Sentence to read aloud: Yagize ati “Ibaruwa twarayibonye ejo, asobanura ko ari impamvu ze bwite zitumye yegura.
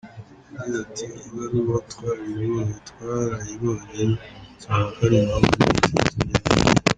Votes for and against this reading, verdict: 0, 2, rejected